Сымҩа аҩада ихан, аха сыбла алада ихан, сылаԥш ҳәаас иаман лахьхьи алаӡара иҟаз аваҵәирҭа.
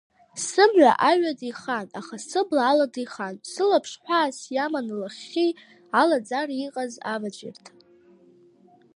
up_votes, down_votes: 2, 1